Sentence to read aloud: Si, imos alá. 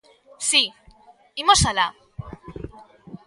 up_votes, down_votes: 2, 0